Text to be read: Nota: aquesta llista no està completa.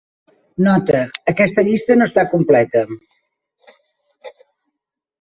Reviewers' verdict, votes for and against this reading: accepted, 5, 0